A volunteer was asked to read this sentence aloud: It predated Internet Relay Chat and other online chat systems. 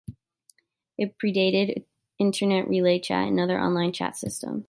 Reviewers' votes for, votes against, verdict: 2, 0, accepted